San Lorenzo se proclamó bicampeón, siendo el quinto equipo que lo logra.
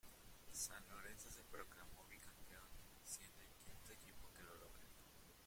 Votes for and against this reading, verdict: 0, 2, rejected